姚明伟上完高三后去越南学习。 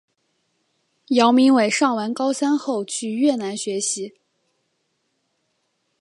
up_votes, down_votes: 2, 0